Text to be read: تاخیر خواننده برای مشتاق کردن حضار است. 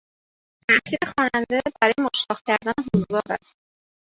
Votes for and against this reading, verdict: 0, 2, rejected